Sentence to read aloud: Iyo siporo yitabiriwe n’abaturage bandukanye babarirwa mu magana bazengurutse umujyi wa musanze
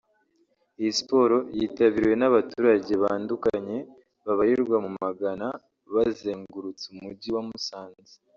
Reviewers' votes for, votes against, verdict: 0, 2, rejected